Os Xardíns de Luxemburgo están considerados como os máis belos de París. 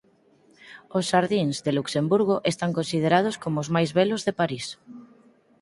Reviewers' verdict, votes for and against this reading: accepted, 4, 0